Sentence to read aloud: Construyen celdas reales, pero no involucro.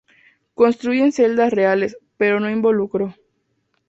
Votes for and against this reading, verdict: 2, 0, accepted